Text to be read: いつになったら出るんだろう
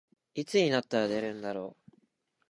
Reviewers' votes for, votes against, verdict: 4, 0, accepted